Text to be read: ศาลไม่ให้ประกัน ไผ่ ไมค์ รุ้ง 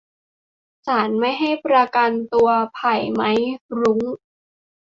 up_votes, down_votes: 0, 2